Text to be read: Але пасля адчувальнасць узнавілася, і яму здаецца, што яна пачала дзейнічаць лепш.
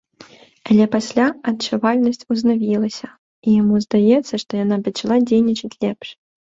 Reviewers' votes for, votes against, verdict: 2, 0, accepted